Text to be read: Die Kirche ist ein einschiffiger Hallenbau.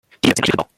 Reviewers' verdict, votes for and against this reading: rejected, 0, 2